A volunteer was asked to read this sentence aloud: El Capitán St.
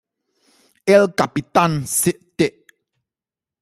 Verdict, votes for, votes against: accepted, 2, 0